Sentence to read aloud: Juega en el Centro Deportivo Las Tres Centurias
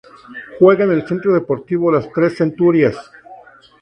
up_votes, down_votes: 0, 2